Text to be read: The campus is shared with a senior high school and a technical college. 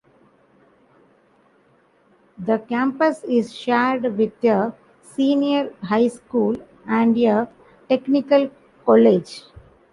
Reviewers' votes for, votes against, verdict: 0, 2, rejected